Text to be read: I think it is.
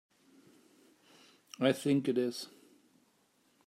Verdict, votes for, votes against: accepted, 2, 0